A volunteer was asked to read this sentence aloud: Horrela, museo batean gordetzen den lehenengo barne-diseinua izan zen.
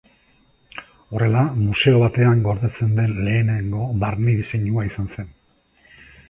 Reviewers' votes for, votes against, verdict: 2, 0, accepted